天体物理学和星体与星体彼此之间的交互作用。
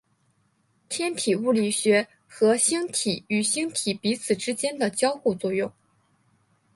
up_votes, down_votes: 3, 1